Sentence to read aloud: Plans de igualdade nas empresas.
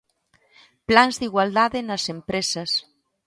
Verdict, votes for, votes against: accepted, 2, 0